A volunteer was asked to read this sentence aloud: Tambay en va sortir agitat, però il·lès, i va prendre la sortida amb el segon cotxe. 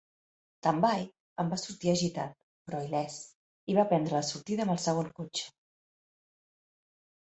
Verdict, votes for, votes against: accepted, 2, 0